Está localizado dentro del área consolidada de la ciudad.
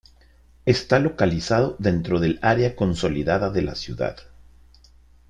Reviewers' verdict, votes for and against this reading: accepted, 2, 0